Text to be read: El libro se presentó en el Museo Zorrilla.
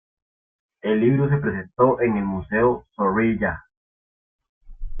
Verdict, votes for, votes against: rejected, 1, 2